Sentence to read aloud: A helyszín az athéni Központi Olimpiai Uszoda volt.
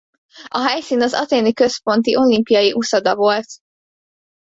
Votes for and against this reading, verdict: 2, 0, accepted